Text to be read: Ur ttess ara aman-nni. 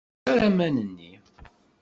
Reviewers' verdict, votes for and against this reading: rejected, 0, 2